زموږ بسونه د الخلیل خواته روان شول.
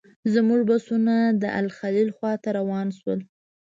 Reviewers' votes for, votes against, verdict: 2, 0, accepted